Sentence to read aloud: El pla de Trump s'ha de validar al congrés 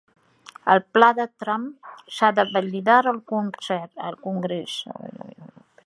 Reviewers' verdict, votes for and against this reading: rejected, 0, 3